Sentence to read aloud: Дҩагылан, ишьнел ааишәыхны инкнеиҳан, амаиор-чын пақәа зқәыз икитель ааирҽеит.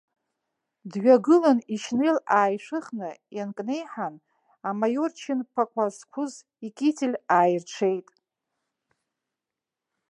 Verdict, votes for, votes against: rejected, 1, 2